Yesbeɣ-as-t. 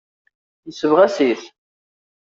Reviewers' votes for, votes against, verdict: 1, 2, rejected